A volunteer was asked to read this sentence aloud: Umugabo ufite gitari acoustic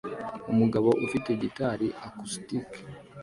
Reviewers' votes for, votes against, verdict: 2, 0, accepted